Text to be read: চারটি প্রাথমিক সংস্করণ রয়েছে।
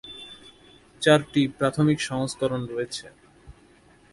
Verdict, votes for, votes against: accepted, 2, 0